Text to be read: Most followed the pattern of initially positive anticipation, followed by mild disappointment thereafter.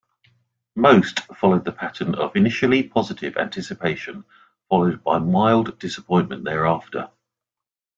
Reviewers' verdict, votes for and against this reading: accepted, 2, 0